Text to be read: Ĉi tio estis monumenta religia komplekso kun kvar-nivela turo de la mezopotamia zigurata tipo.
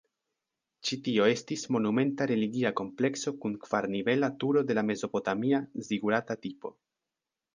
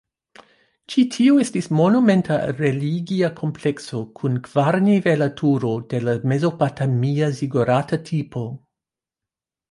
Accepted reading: first